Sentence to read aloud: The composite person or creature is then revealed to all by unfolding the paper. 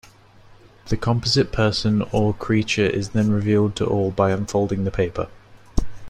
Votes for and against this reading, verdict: 2, 0, accepted